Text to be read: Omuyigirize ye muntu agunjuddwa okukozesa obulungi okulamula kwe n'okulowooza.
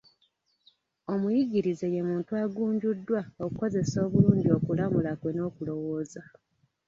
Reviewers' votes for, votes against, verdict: 0, 2, rejected